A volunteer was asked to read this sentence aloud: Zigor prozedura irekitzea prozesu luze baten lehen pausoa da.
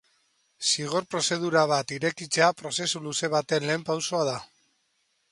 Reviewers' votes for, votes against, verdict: 2, 1, accepted